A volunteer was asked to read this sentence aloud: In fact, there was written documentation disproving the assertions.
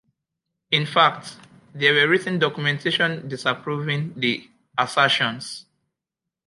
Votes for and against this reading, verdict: 0, 2, rejected